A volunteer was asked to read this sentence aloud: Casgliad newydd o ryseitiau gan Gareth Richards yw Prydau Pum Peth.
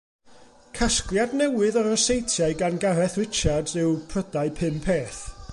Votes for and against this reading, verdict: 2, 0, accepted